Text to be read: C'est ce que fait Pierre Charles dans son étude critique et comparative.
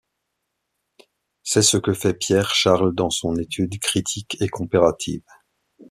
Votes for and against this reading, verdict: 1, 2, rejected